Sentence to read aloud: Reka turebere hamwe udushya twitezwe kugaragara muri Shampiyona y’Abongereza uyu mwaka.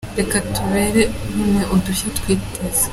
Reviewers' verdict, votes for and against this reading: rejected, 0, 2